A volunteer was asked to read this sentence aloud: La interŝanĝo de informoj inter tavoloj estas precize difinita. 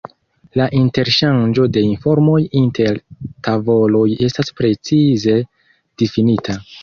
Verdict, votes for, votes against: accepted, 2, 0